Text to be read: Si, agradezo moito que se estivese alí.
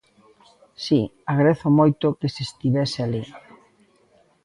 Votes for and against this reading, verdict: 2, 1, accepted